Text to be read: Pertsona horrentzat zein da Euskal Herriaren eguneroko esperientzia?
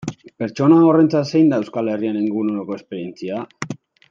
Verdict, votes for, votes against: rejected, 1, 2